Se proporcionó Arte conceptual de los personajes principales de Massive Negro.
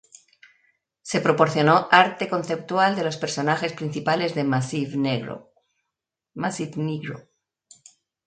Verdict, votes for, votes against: rejected, 0, 2